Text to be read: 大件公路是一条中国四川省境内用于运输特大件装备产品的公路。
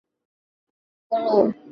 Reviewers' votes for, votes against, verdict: 1, 4, rejected